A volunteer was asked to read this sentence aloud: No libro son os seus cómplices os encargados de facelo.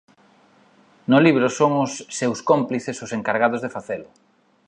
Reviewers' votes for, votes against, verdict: 2, 0, accepted